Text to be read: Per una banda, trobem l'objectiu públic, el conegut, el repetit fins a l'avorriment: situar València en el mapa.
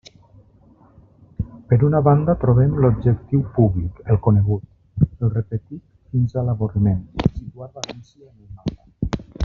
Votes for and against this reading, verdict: 1, 2, rejected